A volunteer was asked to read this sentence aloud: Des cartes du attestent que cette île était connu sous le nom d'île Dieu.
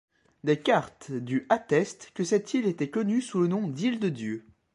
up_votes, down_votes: 1, 2